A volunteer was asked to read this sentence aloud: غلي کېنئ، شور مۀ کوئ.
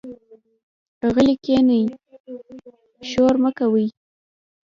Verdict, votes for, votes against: rejected, 1, 2